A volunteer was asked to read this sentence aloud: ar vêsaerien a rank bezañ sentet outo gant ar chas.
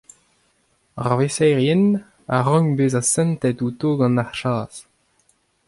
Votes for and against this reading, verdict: 2, 0, accepted